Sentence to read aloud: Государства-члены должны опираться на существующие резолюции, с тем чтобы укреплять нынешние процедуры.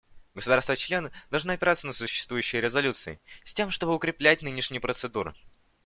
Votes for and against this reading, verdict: 2, 0, accepted